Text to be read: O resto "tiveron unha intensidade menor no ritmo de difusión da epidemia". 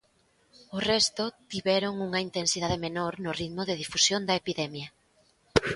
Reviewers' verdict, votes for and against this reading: accepted, 2, 0